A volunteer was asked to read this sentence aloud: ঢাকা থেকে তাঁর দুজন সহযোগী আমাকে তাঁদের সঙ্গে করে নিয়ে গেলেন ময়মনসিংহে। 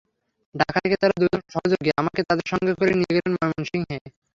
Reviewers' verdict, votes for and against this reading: rejected, 0, 3